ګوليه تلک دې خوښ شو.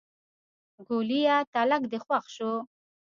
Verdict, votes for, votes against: rejected, 1, 2